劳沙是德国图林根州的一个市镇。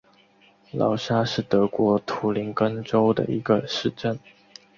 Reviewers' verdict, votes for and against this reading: accepted, 3, 0